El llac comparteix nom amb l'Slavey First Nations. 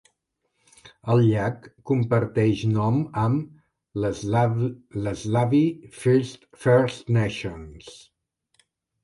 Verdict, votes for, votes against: rejected, 1, 2